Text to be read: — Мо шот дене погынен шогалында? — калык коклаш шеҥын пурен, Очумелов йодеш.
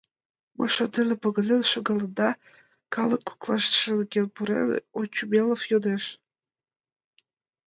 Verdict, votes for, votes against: rejected, 1, 2